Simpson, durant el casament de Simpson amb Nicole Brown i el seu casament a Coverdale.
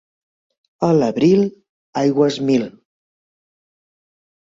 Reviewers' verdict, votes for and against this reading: rejected, 0, 3